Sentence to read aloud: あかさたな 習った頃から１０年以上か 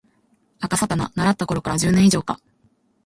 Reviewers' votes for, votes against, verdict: 0, 2, rejected